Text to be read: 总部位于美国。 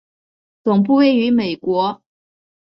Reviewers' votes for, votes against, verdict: 9, 0, accepted